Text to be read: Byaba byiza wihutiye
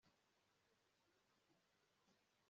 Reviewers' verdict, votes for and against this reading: rejected, 0, 2